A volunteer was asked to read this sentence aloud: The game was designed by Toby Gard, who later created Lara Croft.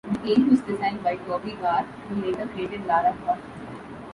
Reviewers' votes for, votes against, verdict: 3, 2, accepted